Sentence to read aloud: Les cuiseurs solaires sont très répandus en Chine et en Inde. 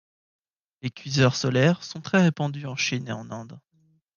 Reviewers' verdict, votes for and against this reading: accepted, 3, 0